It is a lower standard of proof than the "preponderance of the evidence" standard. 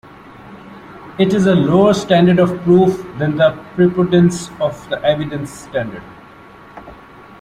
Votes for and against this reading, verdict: 0, 2, rejected